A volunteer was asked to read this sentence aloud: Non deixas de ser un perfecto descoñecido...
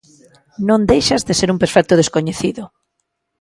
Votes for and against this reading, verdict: 2, 0, accepted